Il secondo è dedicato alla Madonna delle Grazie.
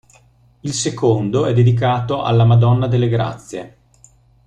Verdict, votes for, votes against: accepted, 2, 0